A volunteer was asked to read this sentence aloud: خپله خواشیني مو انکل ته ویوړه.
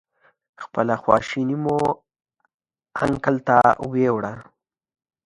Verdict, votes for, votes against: accepted, 2, 0